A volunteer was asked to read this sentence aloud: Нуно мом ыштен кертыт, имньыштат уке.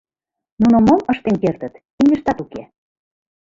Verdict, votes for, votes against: rejected, 0, 2